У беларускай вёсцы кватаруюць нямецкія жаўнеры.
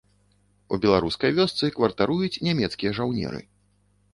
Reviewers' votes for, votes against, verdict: 0, 2, rejected